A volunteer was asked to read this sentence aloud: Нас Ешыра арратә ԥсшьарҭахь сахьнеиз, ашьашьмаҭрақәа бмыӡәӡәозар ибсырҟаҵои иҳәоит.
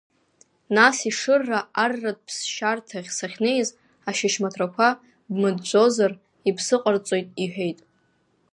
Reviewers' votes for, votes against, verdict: 0, 2, rejected